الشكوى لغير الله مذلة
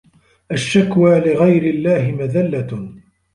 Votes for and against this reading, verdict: 2, 0, accepted